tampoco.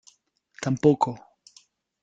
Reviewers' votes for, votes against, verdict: 2, 0, accepted